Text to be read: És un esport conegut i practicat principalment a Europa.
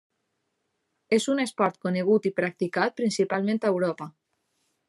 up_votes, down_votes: 3, 0